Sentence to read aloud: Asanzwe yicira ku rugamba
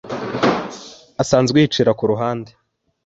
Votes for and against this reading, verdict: 2, 1, accepted